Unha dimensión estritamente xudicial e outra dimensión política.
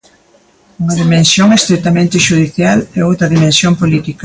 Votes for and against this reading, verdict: 2, 0, accepted